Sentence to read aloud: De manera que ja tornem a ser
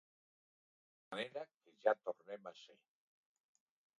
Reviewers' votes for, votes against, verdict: 1, 2, rejected